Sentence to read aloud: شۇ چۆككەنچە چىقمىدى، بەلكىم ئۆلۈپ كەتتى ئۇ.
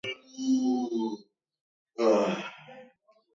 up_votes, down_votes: 0, 2